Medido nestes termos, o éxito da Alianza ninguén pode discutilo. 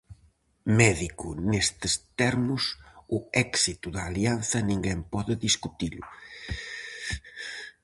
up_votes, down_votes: 0, 4